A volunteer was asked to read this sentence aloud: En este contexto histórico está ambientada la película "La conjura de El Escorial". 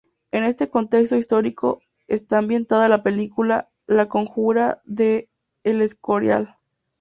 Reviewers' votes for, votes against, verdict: 2, 0, accepted